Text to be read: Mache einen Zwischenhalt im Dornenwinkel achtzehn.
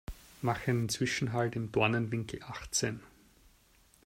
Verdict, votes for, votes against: rejected, 0, 2